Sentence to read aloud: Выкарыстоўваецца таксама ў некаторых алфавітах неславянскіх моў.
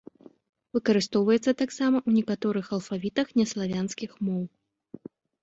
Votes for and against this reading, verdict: 2, 0, accepted